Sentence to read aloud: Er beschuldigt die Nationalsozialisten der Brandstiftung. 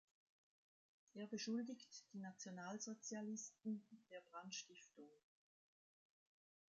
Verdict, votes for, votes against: accepted, 2, 0